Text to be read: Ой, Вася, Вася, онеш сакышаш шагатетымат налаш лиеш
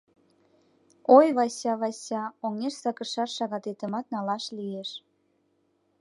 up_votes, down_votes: 0, 2